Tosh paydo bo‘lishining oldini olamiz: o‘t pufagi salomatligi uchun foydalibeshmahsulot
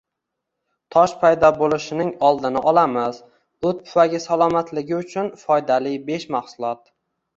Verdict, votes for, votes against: rejected, 0, 2